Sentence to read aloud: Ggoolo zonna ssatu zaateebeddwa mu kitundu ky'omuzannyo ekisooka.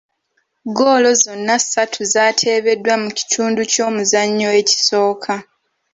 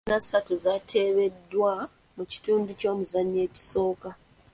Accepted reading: first